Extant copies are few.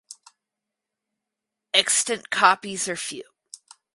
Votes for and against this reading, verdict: 4, 0, accepted